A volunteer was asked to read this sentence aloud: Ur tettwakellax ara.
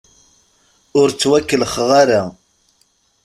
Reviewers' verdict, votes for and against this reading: rejected, 1, 2